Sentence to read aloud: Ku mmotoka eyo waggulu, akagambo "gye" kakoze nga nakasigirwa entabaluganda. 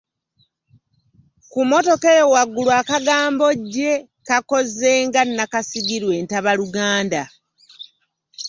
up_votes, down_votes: 2, 0